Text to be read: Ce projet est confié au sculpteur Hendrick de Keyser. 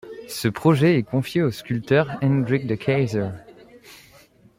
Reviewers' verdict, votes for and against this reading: rejected, 0, 2